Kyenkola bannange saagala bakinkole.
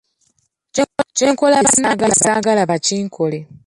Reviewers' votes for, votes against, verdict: 0, 2, rejected